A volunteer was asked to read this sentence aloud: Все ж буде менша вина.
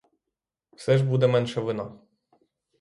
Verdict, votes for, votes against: rejected, 3, 3